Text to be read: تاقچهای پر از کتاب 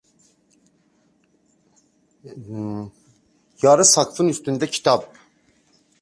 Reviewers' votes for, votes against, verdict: 0, 2, rejected